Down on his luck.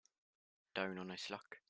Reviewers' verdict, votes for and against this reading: accepted, 2, 0